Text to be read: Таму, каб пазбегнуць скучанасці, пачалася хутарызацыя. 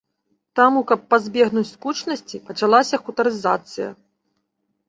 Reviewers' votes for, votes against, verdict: 2, 0, accepted